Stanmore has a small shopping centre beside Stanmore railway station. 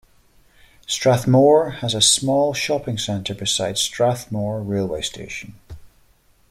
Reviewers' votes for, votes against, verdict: 1, 2, rejected